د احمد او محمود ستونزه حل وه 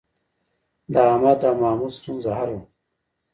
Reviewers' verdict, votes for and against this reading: accepted, 2, 0